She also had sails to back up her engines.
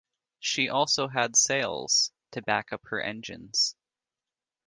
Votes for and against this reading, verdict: 2, 0, accepted